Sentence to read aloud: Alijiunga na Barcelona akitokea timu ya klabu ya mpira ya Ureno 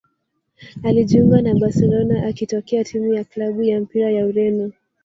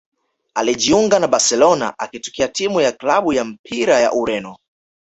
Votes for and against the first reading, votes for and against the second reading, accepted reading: 0, 2, 2, 0, second